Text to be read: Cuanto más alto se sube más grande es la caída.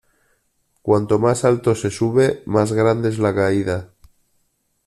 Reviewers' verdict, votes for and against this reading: accepted, 2, 0